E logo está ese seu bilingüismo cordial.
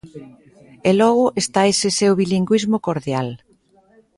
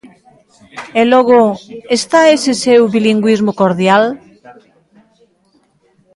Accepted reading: first